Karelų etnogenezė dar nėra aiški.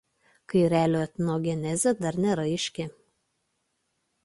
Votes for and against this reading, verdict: 1, 2, rejected